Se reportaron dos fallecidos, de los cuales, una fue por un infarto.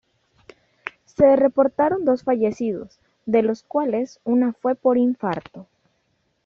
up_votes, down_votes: 2, 0